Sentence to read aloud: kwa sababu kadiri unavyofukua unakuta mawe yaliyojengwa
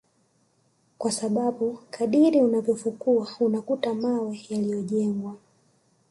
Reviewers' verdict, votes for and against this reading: accepted, 3, 2